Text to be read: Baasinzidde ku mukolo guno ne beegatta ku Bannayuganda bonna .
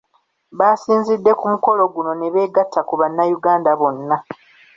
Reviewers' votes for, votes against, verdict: 2, 1, accepted